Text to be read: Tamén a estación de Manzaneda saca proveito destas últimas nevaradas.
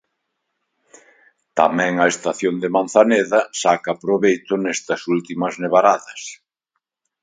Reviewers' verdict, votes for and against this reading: rejected, 0, 2